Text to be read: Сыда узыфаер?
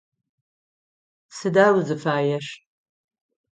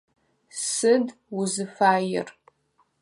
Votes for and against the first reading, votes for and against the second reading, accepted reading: 9, 0, 0, 4, first